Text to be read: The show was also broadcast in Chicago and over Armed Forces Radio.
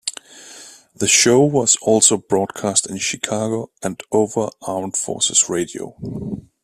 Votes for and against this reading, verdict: 2, 0, accepted